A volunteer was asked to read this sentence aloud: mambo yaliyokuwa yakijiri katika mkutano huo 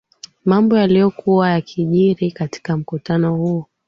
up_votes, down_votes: 2, 0